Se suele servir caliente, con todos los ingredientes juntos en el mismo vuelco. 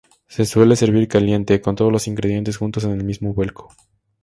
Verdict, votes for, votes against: rejected, 2, 2